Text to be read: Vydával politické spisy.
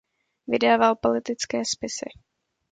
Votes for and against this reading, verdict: 2, 0, accepted